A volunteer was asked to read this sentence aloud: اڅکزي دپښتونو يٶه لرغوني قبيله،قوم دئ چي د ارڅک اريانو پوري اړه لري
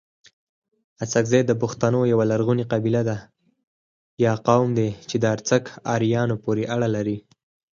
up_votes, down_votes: 0, 4